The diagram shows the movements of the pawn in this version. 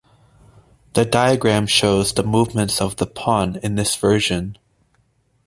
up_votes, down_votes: 2, 0